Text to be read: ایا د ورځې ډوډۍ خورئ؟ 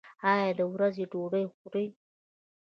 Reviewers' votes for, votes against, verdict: 2, 0, accepted